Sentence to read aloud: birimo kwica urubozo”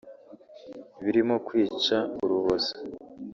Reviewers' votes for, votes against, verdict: 0, 2, rejected